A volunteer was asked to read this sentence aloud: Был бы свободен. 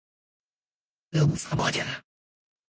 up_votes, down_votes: 0, 4